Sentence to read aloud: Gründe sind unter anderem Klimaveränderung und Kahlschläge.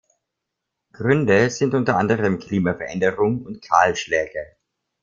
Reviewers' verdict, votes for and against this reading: accepted, 2, 0